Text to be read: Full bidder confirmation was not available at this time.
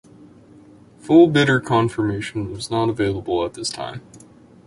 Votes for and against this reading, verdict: 2, 0, accepted